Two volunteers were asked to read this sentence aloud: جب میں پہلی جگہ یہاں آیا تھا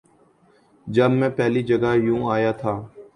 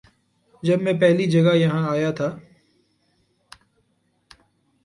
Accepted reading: second